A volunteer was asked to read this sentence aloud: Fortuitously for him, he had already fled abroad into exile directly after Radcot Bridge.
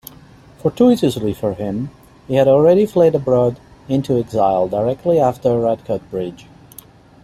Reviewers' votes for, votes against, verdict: 2, 0, accepted